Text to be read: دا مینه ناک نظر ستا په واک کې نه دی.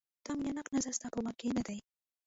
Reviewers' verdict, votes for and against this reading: rejected, 0, 2